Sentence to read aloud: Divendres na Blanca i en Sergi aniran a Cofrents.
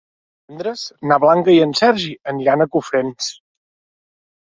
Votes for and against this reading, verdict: 1, 2, rejected